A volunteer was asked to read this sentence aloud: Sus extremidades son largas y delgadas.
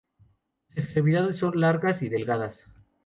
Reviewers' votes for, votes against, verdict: 2, 0, accepted